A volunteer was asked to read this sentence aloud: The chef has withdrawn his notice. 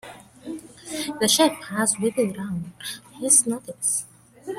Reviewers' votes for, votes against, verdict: 1, 2, rejected